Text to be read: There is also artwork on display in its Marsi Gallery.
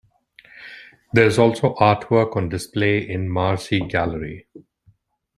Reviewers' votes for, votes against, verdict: 2, 1, accepted